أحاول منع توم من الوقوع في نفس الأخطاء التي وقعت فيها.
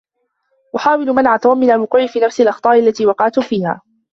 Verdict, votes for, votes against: rejected, 0, 2